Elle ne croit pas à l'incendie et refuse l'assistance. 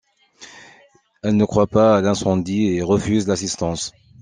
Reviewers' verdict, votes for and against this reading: accepted, 2, 0